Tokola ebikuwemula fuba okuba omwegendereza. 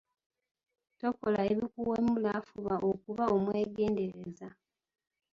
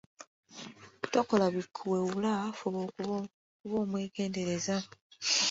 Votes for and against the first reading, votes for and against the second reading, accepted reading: 2, 0, 0, 2, first